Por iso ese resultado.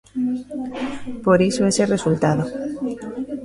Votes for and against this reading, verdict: 1, 2, rejected